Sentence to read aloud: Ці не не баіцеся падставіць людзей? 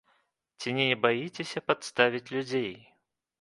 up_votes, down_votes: 1, 2